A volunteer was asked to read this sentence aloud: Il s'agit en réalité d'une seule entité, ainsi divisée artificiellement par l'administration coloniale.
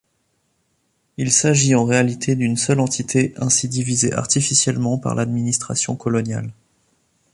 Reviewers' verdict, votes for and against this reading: accepted, 2, 0